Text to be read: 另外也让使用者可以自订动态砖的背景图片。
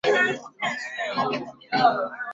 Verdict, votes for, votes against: rejected, 1, 3